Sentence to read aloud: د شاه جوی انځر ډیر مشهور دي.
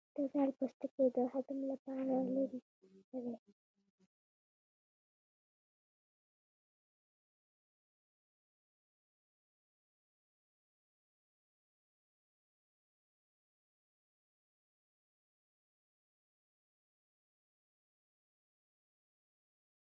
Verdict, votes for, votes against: rejected, 2, 3